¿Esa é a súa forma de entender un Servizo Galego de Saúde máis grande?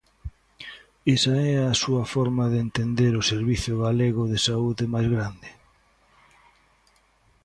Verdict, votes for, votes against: rejected, 0, 2